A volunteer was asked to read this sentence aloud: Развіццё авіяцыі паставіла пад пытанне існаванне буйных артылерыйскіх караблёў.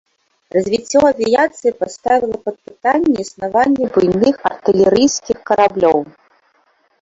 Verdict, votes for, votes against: rejected, 2, 3